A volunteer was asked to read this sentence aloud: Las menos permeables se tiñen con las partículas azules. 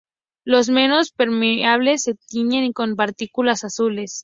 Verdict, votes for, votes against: rejected, 0, 2